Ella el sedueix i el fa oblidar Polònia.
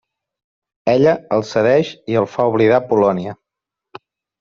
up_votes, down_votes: 1, 2